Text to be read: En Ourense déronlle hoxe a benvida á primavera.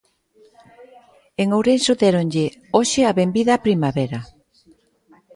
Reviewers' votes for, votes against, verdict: 1, 2, rejected